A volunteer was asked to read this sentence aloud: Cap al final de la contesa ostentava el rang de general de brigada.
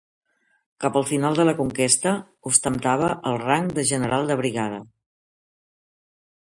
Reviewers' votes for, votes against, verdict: 1, 2, rejected